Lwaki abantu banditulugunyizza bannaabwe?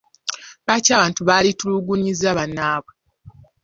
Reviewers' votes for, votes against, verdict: 2, 0, accepted